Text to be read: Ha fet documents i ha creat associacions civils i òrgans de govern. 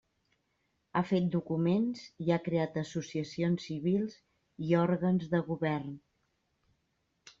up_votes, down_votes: 3, 0